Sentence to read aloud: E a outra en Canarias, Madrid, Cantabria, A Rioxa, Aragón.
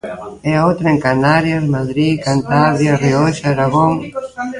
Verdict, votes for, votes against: accepted, 2, 1